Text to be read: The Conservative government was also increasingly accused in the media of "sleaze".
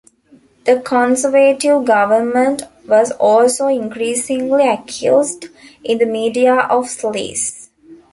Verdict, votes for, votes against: accepted, 2, 1